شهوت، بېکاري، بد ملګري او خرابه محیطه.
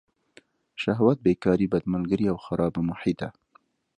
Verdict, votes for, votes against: rejected, 1, 2